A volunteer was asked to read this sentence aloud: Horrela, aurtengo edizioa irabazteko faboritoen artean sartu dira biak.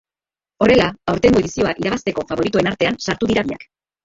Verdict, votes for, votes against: rejected, 1, 3